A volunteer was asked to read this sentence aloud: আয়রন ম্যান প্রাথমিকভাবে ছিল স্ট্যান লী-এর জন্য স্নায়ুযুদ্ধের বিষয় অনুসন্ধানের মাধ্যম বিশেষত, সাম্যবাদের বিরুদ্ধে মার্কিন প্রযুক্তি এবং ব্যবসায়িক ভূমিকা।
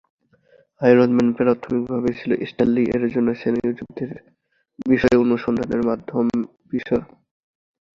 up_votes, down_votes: 0, 2